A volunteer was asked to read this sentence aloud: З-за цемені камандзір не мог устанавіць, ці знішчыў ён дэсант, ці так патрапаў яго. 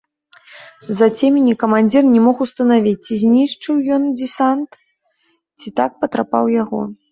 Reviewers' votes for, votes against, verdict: 1, 2, rejected